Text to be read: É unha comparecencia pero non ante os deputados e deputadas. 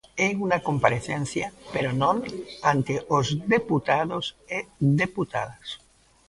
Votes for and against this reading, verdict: 2, 0, accepted